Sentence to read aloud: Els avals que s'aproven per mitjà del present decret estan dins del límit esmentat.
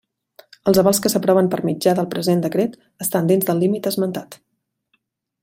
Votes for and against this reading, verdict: 2, 0, accepted